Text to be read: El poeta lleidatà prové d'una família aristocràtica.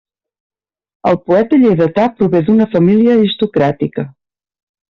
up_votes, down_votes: 2, 0